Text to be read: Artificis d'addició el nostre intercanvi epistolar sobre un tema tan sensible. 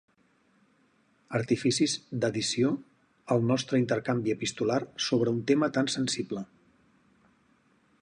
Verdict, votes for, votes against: rejected, 2, 2